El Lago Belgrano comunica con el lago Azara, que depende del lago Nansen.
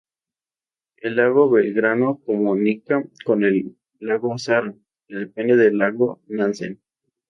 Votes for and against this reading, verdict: 2, 0, accepted